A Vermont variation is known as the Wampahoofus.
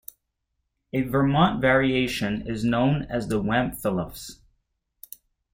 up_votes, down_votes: 1, 2